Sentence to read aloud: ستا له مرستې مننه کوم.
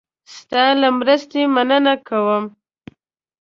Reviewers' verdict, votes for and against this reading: accepted, 2, 0